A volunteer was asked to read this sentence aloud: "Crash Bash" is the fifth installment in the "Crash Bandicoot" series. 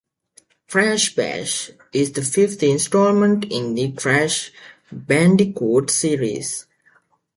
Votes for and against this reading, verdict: 2, 0, accepted